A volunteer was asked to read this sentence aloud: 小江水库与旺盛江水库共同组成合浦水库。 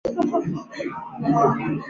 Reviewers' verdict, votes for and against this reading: accepted, 2, 0